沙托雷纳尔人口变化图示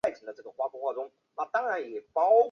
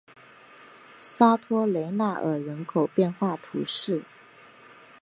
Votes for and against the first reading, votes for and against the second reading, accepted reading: 0, 2, 2, 0, second